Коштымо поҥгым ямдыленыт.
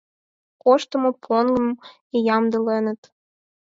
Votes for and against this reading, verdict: 2, 4, rejected